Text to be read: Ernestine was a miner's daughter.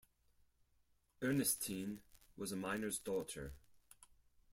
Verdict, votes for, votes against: accepted, 4, 0